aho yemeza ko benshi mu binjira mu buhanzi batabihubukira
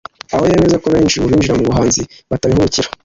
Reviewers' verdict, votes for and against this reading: accepted, 2, 0